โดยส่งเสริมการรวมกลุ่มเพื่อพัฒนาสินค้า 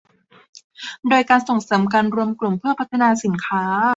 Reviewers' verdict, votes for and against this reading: accepted, 2, 1